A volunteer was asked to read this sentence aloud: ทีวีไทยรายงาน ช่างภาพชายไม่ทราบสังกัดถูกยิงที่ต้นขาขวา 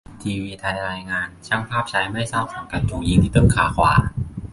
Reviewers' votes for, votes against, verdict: 2, 0, accepted